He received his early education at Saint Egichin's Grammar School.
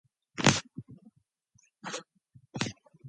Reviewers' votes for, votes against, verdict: 0, 2, rejected